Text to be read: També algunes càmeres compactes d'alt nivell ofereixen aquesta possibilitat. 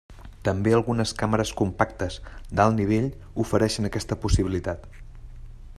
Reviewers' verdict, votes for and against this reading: accepted, 3, 0